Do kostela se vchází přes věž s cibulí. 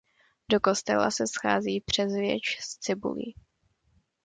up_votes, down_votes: 1, 2